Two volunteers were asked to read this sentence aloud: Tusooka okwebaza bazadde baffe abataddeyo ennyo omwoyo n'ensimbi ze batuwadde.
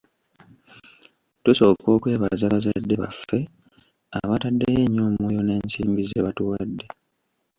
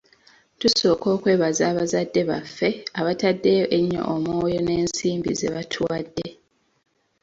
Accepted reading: second